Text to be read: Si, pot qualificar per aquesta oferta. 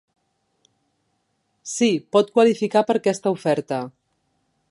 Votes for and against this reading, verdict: 2, 0, accepted